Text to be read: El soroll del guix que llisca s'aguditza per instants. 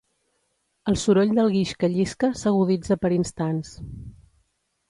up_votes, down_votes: 2, 0